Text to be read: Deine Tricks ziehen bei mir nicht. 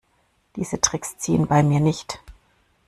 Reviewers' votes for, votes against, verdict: 1, 2, rejected